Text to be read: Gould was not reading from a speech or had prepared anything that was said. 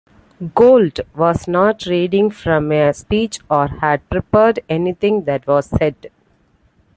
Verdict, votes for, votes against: accepted, 2, 0